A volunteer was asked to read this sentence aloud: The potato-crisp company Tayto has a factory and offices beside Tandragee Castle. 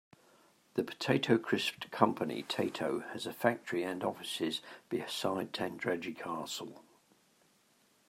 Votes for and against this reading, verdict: 0, 2, rejected